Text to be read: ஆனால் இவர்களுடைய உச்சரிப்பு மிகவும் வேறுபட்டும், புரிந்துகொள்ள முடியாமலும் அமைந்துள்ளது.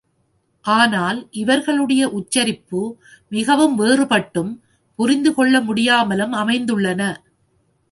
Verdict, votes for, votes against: rejected, 1, 2